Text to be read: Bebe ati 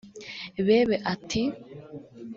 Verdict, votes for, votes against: accepted, 2, 0